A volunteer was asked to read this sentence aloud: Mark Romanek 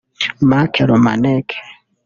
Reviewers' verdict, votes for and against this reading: rejected, 0, 2